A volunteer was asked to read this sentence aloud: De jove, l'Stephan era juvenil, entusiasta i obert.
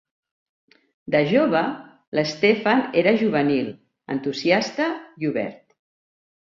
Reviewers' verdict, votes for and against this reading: accepted, 2, 0